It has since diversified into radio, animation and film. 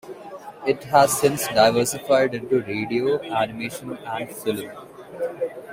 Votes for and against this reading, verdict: 3, 0, accepted